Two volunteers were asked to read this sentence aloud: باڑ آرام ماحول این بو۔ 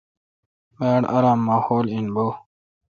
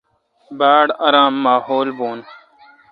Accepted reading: first